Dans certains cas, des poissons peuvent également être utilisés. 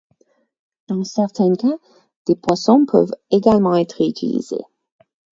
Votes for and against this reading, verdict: 4, 0, accepted